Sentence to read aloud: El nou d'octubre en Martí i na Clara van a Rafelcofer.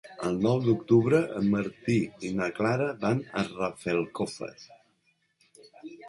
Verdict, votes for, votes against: accepted, 7, 1